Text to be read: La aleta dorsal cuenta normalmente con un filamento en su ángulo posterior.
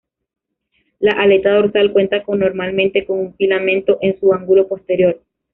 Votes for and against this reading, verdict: 1, 2, rejected